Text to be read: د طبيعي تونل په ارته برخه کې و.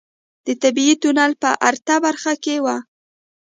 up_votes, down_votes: 1, 2